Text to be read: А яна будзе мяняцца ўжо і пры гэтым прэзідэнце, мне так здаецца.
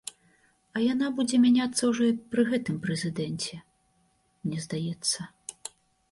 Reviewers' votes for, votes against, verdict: 0, 2, rejected